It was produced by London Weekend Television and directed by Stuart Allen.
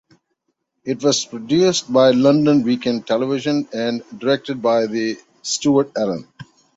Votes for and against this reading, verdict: 0, 2, rejected